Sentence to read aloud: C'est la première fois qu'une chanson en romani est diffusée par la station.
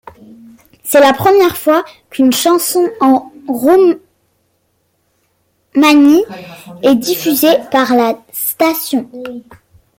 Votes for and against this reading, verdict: 0, 2, rejected